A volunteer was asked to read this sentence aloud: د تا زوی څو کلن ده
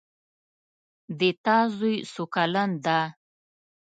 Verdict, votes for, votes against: accepted, 2, 0